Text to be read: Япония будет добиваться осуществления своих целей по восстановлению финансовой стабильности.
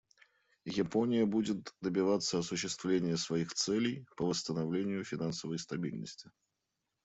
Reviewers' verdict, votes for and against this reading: accepted, 2, 1